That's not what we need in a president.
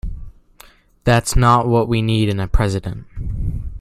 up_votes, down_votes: 2, 0